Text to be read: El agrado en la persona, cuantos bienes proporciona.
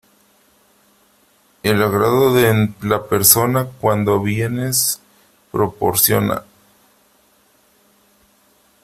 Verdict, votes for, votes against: rejected, 0, 3